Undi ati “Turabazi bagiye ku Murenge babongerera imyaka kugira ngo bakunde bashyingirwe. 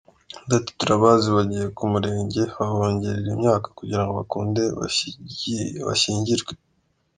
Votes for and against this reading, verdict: 1, 2, rejected